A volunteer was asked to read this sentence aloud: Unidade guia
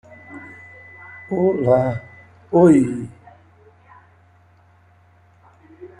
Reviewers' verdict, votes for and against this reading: rejected, 0, 2